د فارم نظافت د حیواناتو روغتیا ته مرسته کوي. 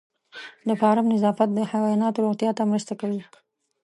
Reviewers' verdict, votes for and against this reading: accepted, 2, 0